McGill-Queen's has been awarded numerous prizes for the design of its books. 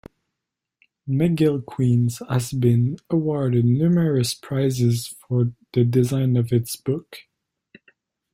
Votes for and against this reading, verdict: 0, 2, rejected